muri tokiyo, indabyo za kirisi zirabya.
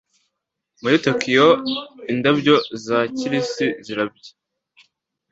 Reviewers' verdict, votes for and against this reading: accepted, 2, 0